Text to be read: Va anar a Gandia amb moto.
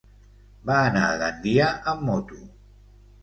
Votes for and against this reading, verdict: 3, 0, accepted